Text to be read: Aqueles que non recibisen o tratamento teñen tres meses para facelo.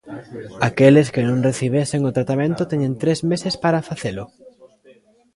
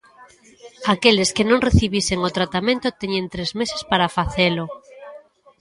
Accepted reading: second